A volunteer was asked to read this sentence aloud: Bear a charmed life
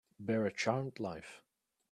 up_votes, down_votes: 2, 1